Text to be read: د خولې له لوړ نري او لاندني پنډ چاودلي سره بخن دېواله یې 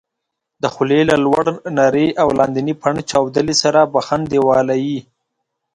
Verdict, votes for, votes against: accepted, 2, 0